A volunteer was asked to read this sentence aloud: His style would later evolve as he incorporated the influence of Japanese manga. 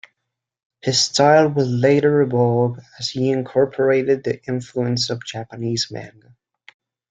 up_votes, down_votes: 2, 0